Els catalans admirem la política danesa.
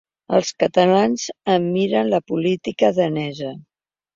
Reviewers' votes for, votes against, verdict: 1, 2, rejected